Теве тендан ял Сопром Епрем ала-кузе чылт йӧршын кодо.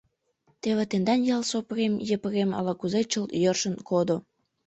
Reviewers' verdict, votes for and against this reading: rejected, 0, 2